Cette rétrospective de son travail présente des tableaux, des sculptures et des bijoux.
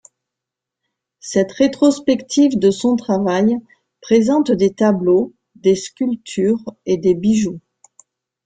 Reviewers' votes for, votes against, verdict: 2, 0, accepted